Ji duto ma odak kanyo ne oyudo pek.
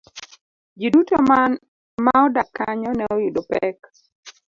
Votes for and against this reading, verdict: 2, 0, accepted